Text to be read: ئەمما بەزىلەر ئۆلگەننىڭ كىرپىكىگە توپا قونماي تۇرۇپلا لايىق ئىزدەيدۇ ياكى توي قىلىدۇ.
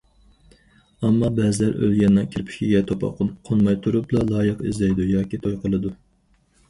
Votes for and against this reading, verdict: 2, 4, rejected